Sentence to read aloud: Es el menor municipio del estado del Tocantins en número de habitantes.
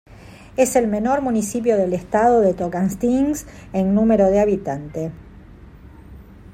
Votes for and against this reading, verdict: 2, 0, accepted